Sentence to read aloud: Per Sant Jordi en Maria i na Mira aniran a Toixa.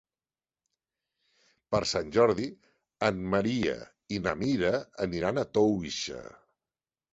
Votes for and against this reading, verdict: 2, 1, accepted